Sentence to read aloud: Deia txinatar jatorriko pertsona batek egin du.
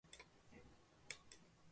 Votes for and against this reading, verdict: 0, 4, rejected